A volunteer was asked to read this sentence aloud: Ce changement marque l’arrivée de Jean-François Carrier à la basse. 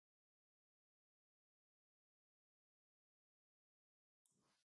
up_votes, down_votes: 1, 2